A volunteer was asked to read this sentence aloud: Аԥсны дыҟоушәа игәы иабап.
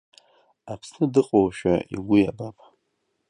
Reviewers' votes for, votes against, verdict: 2, 1, accepted